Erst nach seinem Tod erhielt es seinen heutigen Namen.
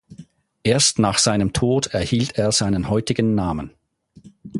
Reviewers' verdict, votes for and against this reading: rejected, 0, 4